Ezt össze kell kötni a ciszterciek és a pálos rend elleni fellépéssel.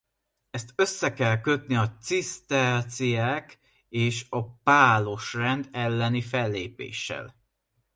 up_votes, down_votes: 2, 1